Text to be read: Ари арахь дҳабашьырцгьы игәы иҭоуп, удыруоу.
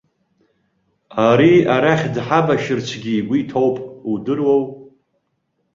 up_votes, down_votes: 2, 0